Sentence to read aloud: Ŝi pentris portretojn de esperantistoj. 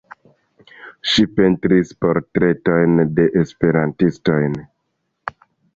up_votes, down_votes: 1, 2